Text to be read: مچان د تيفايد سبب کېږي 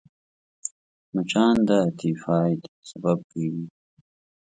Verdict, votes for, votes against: rejected, 0, 2